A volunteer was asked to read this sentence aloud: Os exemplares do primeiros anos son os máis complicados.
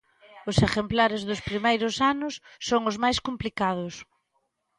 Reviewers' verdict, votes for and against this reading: rejected, 0, 2